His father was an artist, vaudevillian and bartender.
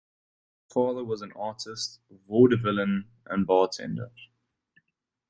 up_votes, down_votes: 0, 2